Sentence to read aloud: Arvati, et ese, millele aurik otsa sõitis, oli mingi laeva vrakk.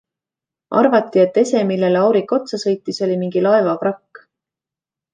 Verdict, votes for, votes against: accepted, 2, 0